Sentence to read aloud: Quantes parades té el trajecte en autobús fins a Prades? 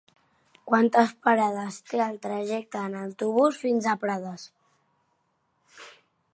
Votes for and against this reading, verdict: 3, 0, accepted